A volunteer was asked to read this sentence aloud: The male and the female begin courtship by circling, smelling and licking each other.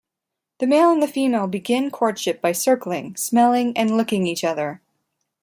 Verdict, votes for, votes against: accepted, 2, 0